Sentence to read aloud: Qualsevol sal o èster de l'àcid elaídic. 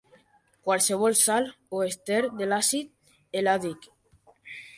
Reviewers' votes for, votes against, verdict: 0, 2, rejected